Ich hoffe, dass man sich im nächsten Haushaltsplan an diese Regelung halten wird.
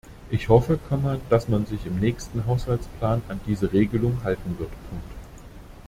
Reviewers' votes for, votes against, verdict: 0, 2, rejected